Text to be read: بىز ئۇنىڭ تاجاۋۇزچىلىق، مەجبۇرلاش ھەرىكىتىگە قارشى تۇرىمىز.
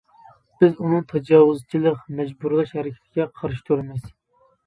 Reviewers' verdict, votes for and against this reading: rejected, 1, 2